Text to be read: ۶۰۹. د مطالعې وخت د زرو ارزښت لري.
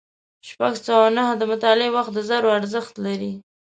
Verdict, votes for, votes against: rejected, 0, 2